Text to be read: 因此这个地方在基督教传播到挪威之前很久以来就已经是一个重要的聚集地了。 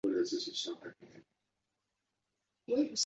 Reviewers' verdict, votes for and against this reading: rejected, 0, 2